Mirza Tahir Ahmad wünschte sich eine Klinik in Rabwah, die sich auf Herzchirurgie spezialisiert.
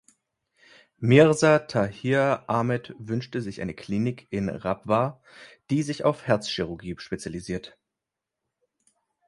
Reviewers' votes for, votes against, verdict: 1, 2, rejected